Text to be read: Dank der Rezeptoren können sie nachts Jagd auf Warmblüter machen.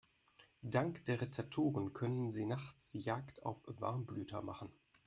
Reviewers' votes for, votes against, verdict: 2, 0, accepted